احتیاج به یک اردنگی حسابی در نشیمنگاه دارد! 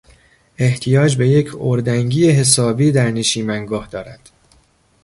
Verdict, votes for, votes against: accepted, 2, 0